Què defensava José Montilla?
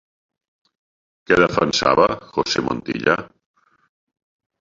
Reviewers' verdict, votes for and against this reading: accepted, 3, 0